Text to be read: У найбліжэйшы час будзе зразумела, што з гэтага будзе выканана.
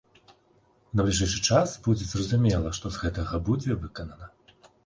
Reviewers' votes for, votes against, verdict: 2, 4, rejected